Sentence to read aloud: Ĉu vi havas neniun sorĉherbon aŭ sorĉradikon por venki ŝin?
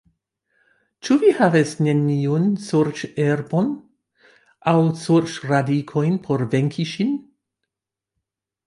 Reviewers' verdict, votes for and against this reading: rejected, 0, 2